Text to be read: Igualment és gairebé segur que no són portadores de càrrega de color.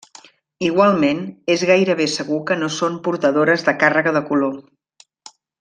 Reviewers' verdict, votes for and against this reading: accepted, 3, 0